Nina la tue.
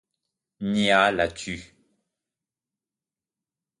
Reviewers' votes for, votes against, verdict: 0, 2, rejected